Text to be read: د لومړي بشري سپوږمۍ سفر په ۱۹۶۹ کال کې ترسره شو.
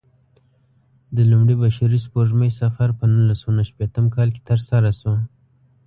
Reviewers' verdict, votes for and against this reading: rejected, 0, 2